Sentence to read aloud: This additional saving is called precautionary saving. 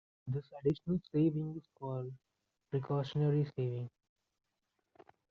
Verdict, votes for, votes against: rejected, 0, 2